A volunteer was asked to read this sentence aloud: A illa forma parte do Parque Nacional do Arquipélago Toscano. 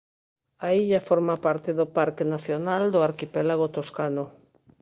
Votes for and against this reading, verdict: 2, 0, accepted